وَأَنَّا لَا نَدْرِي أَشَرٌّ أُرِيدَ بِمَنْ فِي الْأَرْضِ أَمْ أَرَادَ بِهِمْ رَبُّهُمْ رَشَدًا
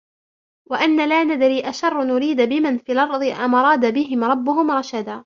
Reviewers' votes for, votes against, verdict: 1, 2, rejected